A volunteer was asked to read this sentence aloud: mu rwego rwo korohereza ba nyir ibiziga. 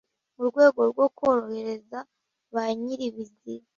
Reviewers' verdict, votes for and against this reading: rejected, 1, 2